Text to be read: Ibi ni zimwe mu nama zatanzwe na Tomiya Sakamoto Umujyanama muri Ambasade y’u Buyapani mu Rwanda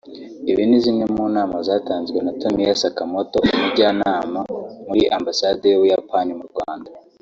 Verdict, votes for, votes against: rejected, 1, 2